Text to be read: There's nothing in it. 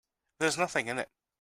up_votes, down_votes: 2, 0